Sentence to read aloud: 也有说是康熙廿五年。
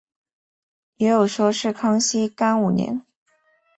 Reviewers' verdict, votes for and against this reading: rejected, 0, 4